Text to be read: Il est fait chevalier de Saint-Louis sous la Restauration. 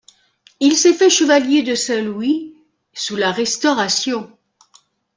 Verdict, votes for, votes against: rejected, 0, 2